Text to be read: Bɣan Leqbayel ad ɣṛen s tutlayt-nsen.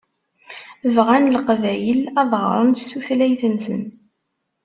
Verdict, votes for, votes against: accepted, 2, 0